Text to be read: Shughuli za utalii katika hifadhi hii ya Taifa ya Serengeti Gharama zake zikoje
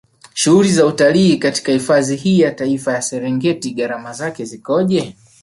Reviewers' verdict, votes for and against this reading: accepted, 3, 0